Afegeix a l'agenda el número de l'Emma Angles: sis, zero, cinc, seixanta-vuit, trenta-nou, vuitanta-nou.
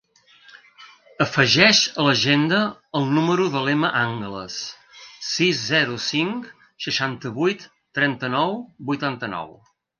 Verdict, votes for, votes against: accepted, 2, 0